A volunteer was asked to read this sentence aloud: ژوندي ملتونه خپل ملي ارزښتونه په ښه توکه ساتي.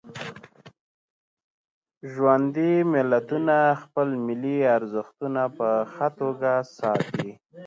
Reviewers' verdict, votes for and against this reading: accepted, 2, 0